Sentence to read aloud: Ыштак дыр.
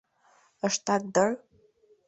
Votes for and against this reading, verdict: 1, 2, rejected